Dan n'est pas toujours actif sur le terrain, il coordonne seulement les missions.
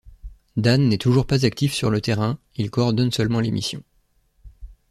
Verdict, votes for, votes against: rejected, 0, 2